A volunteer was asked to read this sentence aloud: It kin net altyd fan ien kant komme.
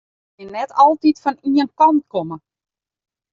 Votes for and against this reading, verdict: 0, 2, rejected